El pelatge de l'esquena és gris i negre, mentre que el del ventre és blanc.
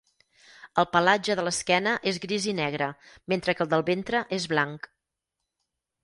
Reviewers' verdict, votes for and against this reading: accepted, 8, 0